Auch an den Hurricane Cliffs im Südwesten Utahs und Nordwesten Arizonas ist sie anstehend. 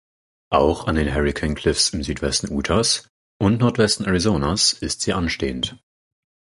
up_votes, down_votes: 4, 2